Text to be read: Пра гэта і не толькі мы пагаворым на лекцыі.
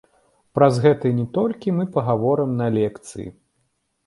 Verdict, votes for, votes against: rejected, 0, 2